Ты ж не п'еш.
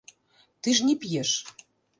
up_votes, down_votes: 1, 2